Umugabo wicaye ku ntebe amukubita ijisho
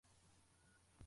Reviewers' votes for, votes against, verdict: 0, 2, rejected